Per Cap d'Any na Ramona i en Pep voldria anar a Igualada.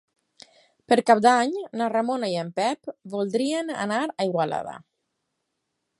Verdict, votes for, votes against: accepted, 4, 0